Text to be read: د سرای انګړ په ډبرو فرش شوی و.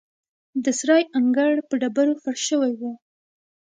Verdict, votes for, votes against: accepted, 2, 1